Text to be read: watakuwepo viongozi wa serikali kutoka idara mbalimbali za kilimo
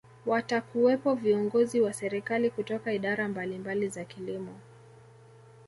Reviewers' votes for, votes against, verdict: 2, 0, accepted